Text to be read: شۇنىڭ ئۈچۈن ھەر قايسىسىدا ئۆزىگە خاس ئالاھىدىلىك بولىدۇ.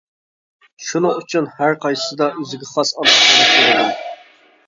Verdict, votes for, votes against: rejected, 1, 2